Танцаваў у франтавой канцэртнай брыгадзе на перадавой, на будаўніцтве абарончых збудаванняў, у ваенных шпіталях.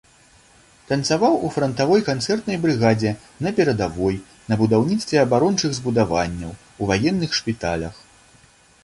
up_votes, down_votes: 2, 0